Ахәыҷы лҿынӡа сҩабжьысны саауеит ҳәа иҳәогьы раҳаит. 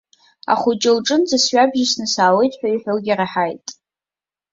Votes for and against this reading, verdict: 2, 0, accepted